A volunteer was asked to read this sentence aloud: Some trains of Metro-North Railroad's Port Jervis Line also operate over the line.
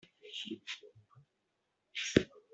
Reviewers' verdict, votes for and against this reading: rejected, 0, 2